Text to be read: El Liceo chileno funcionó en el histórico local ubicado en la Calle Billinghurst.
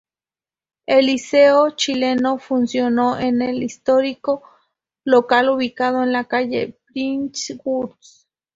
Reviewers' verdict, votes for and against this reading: accepted, 2, 0